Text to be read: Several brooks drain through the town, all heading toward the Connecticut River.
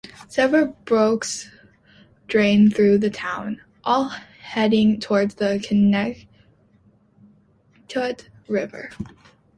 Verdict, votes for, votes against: rejected, 0, 2